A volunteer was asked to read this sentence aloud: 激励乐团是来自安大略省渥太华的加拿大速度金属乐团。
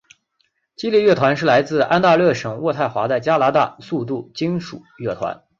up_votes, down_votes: 3, 0